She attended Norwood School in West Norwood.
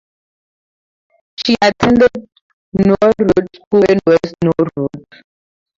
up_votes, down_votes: 0, 2